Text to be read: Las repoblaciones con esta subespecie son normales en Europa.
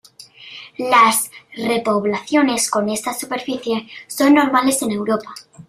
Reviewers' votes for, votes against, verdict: 2, 0, accepted